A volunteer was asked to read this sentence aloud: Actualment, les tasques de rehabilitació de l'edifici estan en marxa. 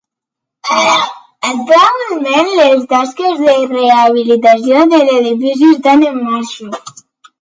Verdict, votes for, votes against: rejected, 0, 2